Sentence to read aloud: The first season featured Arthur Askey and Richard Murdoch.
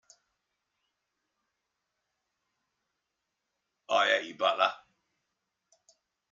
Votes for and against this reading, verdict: 0, 2, rejected